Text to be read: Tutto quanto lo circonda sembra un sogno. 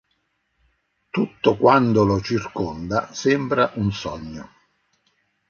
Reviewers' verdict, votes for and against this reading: rejected, 0, 2